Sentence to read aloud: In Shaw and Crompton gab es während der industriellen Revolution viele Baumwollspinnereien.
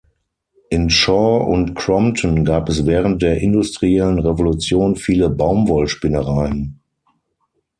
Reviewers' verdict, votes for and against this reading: accepted, 6, 0